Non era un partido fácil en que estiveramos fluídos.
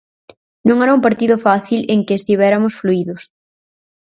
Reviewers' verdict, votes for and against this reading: rejected, 0, 4